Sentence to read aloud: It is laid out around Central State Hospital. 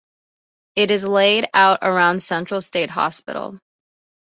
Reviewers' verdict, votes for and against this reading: accepted, 2, 0